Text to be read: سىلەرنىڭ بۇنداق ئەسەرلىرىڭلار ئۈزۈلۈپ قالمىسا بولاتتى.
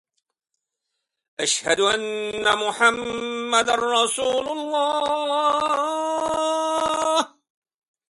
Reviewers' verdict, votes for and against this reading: rejected, 0, 2